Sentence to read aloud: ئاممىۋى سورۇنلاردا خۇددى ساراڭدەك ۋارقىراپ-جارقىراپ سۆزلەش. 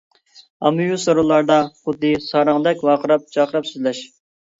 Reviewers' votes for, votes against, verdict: 2, 1, accepted